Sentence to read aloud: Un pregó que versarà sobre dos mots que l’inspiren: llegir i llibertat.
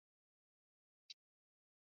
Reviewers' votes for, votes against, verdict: 0, 3, rejected